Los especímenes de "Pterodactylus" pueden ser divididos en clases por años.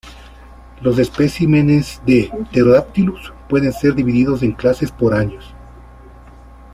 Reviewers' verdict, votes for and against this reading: accepted, 2, 0